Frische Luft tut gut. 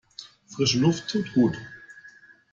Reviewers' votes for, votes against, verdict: 2, 0, accepted